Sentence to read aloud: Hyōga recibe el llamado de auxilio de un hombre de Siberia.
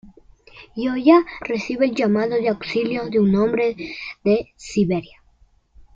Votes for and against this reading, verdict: 0, 2, rejected